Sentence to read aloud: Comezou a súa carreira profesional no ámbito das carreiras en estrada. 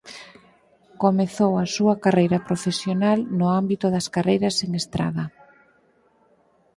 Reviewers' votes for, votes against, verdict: 6, 0, accepted